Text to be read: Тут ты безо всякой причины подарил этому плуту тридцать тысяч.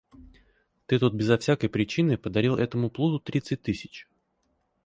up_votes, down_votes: 2, 4